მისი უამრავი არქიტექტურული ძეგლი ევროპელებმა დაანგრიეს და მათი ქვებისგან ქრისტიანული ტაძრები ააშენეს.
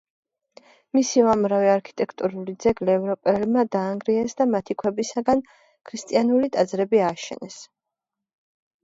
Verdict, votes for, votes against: accepted, 2, 0